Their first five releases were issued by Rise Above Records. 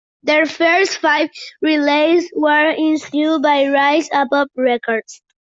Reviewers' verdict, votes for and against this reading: rejected, 0, 2